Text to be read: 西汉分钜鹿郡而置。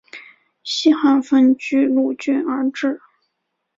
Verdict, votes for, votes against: accepted, 2, 0